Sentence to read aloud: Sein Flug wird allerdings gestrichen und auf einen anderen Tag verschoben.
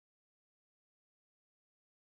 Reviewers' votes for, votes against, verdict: 0, 2, rejected